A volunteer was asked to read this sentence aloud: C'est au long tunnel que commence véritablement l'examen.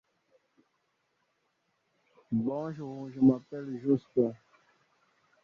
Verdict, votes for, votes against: rejected, 0, 2